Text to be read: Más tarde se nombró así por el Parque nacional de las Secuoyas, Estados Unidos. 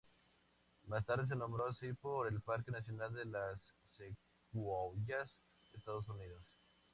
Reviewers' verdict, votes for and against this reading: accepted, 2, 0